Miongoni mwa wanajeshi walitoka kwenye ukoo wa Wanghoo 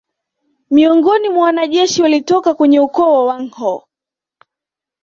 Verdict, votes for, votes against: accepted, 2, 0